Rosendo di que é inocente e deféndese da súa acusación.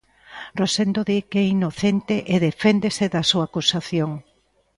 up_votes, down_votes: 2, 0